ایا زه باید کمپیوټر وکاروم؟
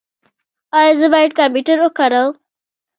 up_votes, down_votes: 2, 1